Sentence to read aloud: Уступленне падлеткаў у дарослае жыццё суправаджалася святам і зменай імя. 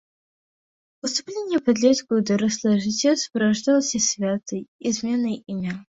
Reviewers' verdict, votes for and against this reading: rejected, 1, 2